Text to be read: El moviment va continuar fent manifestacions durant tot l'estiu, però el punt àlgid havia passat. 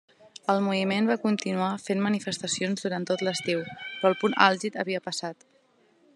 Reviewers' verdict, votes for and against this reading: accepted, 3, 0